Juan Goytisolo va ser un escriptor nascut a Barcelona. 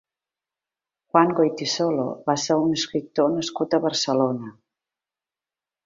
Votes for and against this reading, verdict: 2, 0, accepted